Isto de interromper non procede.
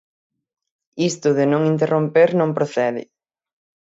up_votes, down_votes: 3, 6